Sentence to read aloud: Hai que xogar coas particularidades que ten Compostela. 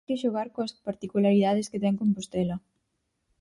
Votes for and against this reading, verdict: 2, 4, rejected